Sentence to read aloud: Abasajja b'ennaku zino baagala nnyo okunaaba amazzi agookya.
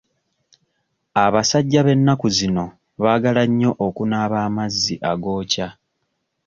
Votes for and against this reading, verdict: 2, 0, accepted